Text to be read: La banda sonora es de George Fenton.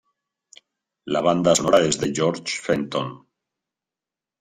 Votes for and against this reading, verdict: 2, 0, accepted